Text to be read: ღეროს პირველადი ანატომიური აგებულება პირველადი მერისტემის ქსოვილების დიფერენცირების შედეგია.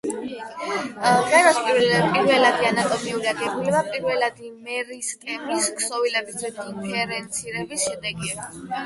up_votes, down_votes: 0, 8